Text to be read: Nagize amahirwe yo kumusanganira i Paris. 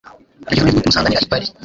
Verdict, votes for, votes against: rejected, 0, 2